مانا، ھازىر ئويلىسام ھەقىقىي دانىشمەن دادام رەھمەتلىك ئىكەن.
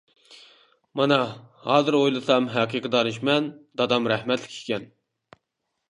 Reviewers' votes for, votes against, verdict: 2, 0, accepted